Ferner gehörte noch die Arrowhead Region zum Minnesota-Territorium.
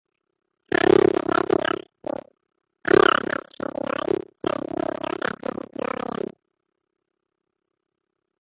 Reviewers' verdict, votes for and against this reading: rejected, 0, 2